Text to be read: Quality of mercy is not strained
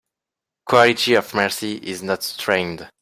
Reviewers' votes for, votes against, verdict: 2, 0, accepted